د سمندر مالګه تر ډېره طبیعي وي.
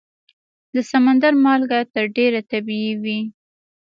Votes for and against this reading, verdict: 3, 0, accepted